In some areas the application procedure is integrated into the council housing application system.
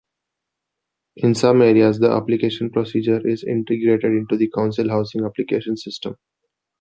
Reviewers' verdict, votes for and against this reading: accepted, 2, 0